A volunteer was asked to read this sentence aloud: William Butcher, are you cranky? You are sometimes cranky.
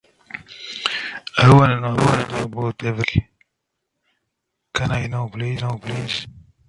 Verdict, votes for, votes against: rejected, 0, 2